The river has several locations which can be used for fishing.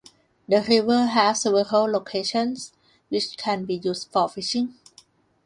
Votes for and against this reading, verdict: 2, 0, accepted